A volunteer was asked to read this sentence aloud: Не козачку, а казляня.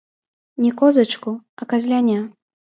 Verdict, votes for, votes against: rejected, 0, 2